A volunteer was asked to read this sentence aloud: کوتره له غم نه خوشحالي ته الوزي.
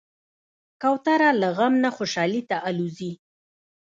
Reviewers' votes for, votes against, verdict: 1, 2, rejected